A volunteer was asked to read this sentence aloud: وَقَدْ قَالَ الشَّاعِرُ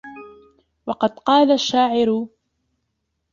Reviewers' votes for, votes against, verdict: 1, 2, rejected